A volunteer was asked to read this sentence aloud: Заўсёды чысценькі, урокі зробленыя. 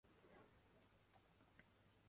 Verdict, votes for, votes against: rejected, 0, 2